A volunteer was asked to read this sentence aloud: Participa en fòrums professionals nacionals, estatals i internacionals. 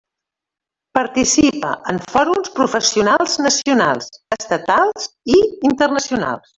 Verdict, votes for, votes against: rejected, 0, 2